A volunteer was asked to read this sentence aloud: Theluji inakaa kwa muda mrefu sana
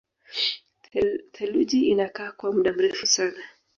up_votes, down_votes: 0, 2